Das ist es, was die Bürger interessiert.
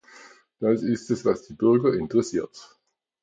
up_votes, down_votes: 2, 0